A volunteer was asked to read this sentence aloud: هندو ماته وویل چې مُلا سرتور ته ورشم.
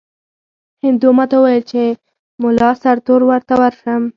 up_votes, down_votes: 0, 2